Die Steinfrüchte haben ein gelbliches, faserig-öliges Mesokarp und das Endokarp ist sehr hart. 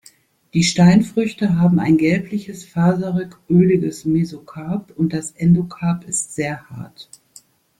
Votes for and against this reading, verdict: 2, 0, accepted